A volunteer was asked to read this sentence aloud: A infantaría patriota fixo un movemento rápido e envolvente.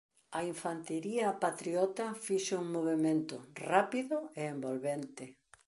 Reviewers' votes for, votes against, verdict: 0, 2, rejected